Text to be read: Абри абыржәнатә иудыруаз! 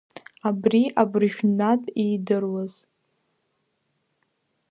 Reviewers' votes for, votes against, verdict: 1, 2, rejected